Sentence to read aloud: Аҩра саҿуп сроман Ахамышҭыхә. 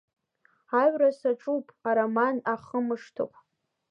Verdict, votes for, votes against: rejected, 1, 2